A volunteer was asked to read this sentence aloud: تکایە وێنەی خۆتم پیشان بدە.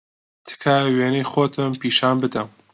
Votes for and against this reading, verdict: 2, 0, accepted